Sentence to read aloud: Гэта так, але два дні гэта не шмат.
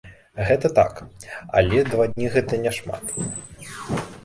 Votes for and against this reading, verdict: 2, 1, accepted